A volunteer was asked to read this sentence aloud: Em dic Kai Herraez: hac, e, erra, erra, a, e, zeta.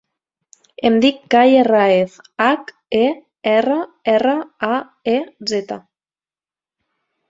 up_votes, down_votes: 2, 0